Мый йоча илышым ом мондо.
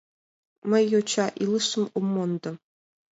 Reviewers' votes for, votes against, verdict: 2, 0, accepted